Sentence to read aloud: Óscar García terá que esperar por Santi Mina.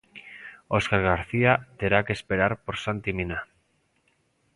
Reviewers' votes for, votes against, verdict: 2, 0, accepted